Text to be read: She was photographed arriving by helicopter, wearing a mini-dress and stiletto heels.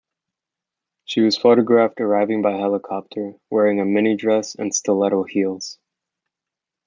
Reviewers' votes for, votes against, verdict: 2, 0, accepted